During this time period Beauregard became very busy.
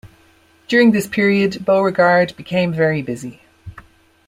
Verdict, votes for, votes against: rejected, 0, 2